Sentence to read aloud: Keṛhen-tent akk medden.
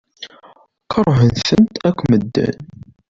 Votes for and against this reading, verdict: 1, 2, rejected